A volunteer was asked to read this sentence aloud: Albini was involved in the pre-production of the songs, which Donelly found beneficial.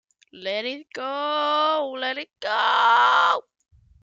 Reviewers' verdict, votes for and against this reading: rejected, 0, 2